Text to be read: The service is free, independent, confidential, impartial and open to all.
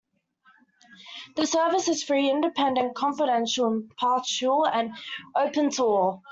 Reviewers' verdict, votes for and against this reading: accepted, 2, 0